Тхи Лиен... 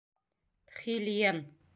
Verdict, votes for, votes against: rejected, 1, 2